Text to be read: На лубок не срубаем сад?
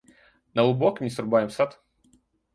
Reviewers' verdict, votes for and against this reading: rejected, 1, 2